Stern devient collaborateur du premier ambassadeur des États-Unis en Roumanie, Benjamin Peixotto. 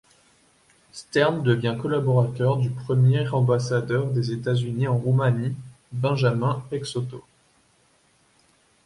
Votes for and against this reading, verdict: 2, 0, accepted